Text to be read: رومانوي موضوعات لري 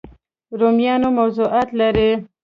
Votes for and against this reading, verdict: 1, 2, rejected